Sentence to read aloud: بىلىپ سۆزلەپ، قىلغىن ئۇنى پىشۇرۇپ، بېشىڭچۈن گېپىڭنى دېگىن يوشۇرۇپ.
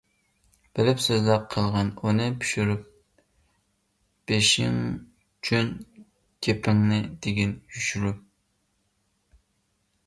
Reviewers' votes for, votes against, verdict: 0, 2, rejected